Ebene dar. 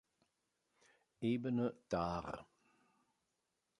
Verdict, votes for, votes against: accepted, 3, 0